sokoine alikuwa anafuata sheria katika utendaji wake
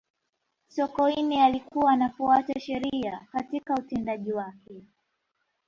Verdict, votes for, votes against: rejected, 1, 2